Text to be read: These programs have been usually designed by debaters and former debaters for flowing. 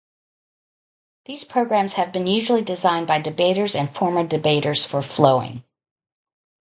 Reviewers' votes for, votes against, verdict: 2, 0, accepted